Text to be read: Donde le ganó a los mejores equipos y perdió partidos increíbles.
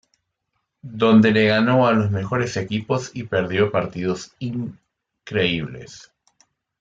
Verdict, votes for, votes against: accepted, 2, 1